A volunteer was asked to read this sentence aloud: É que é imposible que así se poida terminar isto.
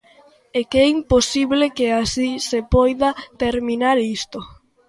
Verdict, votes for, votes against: accepted, 2, 0